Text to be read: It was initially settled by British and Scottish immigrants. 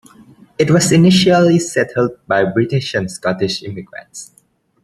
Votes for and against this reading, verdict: 2, 0, accepted